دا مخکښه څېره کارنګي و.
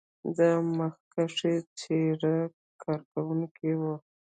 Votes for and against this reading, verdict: 1, 2, rejected